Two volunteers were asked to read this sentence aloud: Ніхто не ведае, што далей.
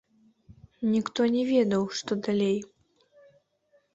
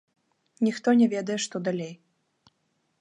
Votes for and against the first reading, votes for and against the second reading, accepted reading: 1, 2, 2, 0, second